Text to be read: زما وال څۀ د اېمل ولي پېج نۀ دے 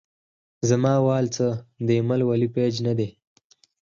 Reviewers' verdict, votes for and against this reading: rejected, 0, 4